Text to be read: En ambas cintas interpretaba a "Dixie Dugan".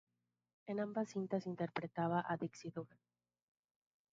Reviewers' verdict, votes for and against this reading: rejected, 0, 2